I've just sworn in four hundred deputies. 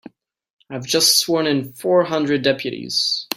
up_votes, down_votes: 2, 0